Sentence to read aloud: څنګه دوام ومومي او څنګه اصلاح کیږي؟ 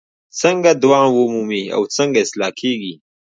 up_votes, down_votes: 2, 1